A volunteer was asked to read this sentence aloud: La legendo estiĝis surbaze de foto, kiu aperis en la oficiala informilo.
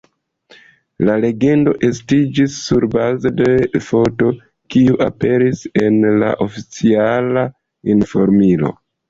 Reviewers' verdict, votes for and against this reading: rejected, 0, 2